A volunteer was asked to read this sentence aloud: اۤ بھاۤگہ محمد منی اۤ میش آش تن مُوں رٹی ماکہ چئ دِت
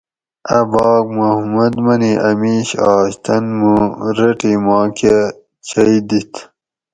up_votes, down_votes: 2, 2